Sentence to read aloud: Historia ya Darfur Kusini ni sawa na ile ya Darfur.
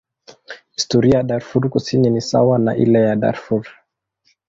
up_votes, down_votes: 2, 1